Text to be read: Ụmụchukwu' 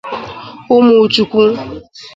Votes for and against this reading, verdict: 2, 0, accepted